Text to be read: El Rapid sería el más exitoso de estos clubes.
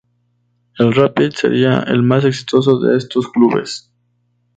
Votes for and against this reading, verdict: 2, 0, accepted